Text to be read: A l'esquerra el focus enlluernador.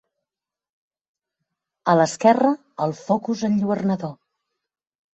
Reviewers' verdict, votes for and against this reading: accepted, 2, 0